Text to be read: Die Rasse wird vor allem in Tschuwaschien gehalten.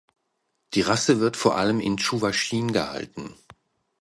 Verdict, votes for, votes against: accepted, 2, 0